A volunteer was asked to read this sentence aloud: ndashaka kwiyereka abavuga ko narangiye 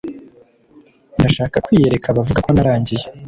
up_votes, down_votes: 2, 0